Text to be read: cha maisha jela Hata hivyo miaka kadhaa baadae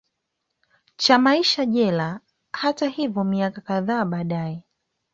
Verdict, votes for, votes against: accepted, 2, 0